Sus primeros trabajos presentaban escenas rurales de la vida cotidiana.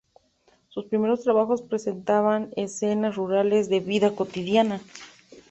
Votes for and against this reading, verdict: 0, 2, rejected